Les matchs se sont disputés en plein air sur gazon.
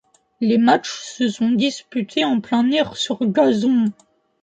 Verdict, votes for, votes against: accepted, 2, 0